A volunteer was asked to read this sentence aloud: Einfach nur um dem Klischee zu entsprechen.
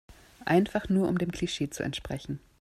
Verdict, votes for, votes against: accepted, 2, 0